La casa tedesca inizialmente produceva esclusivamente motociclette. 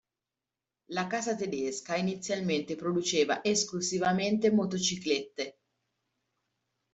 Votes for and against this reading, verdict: 2, 1, accepted